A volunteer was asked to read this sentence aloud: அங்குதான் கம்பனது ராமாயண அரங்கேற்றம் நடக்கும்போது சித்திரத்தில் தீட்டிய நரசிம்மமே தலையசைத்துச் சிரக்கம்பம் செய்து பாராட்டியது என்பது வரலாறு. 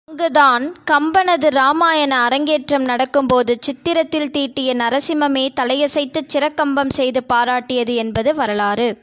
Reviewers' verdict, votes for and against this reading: accepted, 2, 0